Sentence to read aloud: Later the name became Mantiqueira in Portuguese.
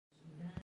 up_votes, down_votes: 0, 2